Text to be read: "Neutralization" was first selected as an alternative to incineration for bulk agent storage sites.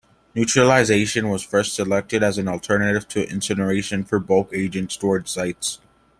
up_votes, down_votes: 2, 0